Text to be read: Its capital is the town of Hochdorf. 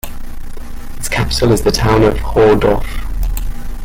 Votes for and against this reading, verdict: 1, 2, rejected